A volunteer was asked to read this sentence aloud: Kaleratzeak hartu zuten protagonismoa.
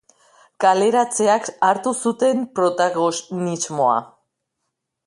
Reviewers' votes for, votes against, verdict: 0, 2, rejected